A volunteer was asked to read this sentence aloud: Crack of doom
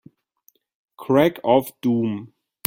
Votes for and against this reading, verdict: 2, 0, accepted